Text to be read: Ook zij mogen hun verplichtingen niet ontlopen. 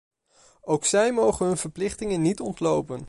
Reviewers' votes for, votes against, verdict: 2, 0, accepted